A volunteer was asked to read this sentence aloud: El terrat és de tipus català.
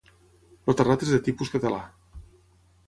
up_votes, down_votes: 6, 0